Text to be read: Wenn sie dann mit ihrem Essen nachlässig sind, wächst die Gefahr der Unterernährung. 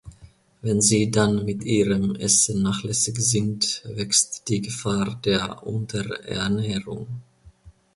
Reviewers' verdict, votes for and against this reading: accepted, 2, 0